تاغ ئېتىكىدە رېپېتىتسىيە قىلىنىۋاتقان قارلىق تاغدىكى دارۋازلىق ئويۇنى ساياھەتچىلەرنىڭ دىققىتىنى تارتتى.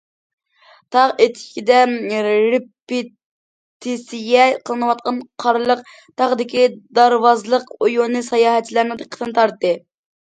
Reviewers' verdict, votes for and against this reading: rejected, 0, 2